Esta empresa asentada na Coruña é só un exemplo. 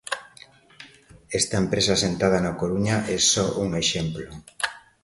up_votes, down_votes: 2, 0